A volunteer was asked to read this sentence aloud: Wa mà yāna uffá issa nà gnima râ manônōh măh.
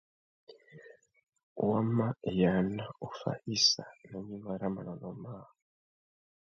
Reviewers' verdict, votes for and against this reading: rejected, 0, 2